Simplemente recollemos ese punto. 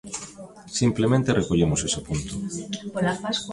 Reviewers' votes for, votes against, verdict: 0, 2, rejected